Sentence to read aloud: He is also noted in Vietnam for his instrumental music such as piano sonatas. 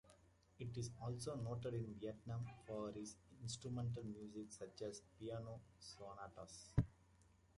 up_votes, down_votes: 1, 2